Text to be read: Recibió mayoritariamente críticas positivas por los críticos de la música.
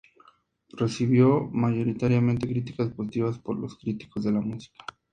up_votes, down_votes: 2, 0